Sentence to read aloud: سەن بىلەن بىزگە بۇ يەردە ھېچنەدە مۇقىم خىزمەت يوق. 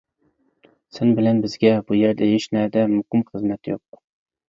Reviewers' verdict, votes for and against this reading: accepted, 2, 0